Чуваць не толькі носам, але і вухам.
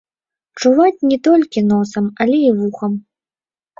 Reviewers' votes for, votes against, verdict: 1, 3, rejected